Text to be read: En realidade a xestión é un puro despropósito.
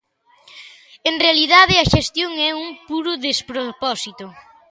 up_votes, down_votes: 2, 0